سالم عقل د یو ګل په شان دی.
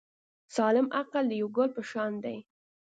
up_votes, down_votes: 2, 0